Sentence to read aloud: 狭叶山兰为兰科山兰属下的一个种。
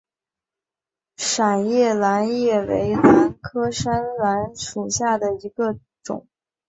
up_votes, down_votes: 1, 2